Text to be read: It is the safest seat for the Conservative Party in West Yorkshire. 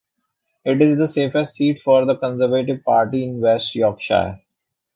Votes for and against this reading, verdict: 2, 0, accepted